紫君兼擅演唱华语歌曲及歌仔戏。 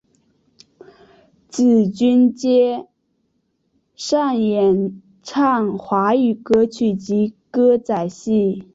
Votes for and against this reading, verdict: 3, 0, accepted